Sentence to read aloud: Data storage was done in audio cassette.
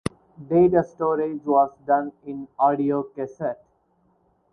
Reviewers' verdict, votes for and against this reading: rejected, 2, 2